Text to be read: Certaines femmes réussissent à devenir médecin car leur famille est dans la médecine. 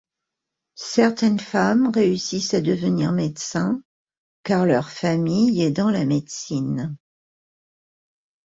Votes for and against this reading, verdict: 2, 0, accepted